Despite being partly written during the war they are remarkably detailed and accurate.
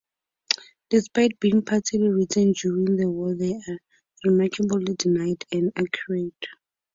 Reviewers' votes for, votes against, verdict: 0, 4, rejected